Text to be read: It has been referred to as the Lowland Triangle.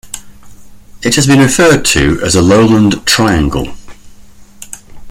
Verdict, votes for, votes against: rejected, 1, 2